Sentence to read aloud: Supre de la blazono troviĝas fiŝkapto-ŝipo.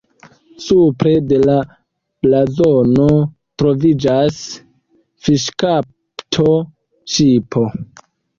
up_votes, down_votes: 2, 1